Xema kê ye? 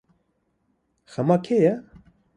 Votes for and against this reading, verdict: 2, 0, accepted